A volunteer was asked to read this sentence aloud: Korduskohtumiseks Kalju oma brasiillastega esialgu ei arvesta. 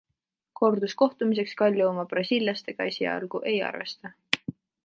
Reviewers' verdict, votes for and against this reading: accepted, 2, 0